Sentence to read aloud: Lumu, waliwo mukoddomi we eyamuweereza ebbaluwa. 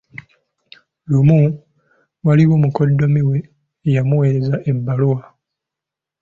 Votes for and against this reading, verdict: 3, 0, accepted